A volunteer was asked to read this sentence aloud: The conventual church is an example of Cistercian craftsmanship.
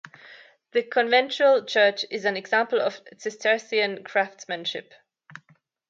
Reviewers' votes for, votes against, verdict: 2, 0, accepted